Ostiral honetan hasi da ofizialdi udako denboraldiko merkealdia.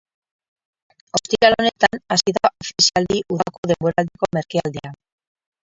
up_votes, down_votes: 0, 4